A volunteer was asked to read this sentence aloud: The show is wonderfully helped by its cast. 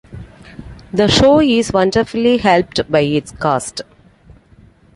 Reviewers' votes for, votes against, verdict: 2, 0, accepted